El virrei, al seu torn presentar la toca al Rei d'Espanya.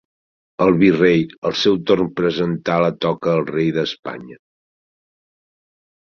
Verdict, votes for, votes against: accepted, 2, 1